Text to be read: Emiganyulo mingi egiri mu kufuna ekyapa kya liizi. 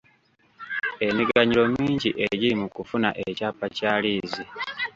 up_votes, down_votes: 2, 0